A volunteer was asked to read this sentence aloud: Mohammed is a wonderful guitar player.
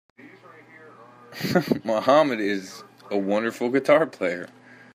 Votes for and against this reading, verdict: 3, 1, accepted